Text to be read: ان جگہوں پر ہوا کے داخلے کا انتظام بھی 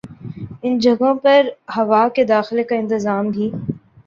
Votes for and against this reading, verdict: 2, 0, accepted